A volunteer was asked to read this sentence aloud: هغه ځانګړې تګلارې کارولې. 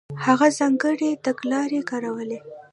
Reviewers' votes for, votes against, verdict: 1, 2, rejected